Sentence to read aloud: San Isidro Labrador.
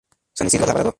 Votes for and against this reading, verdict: 0, 2, rejected